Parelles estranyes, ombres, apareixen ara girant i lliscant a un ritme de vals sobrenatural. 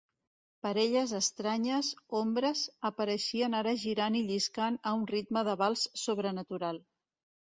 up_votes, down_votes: 0, 2